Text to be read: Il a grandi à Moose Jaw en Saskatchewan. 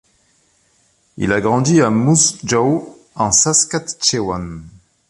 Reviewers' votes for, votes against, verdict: 2, 0, accepted